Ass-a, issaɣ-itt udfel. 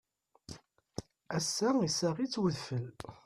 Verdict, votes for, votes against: accepted, 2, 0